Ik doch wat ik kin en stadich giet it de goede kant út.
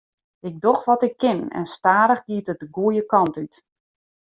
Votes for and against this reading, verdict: 1, 2, rejected